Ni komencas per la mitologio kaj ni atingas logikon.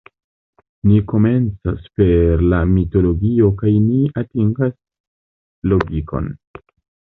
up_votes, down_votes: 2, 1